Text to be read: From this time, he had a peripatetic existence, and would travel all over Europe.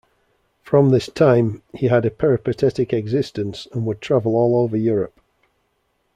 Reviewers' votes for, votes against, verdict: 2, 0, accepted